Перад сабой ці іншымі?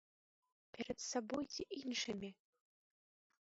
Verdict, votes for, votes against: rejected, 0, 2